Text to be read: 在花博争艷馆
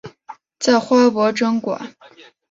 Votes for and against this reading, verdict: 0, 2, rejected